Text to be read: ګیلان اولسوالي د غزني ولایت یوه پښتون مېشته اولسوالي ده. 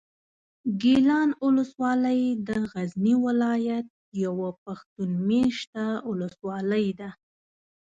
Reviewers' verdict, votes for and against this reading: rejected, 1, 2